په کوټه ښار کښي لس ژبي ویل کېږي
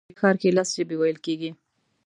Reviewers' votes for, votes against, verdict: 1, 2, rejected